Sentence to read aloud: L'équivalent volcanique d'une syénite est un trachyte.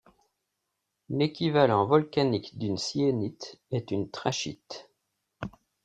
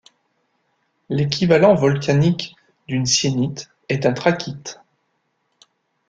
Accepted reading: second